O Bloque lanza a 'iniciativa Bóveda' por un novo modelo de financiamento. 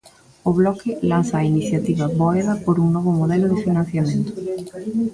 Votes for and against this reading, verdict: 1, 2, rejected